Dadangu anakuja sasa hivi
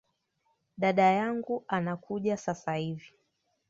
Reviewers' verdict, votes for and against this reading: rejected, 1, 2